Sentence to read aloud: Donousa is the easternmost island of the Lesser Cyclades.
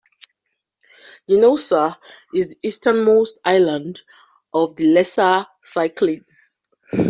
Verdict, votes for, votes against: accepted, 3, 2